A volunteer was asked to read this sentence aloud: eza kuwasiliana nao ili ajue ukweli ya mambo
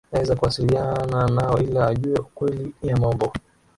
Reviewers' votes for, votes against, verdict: 0, 2, rejected